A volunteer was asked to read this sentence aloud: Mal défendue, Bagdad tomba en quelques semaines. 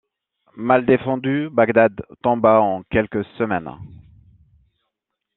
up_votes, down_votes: 0, 2